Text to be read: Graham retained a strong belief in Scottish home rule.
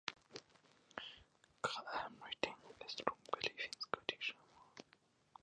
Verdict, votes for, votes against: rejected, 0, 2